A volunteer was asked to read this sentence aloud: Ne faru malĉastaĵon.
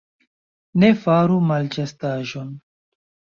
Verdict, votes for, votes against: accepted, 2, 0